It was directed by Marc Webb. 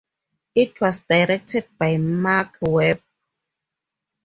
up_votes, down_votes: 2, 0